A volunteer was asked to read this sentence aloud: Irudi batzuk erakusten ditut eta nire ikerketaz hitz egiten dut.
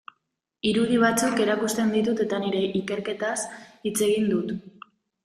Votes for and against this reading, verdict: 0, 2, rejected